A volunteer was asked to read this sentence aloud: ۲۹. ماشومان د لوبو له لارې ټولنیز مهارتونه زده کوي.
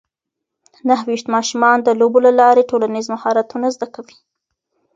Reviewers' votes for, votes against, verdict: 0, 2, rejected